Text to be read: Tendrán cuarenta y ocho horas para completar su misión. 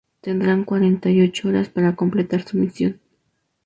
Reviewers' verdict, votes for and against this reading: accepted, 2, 0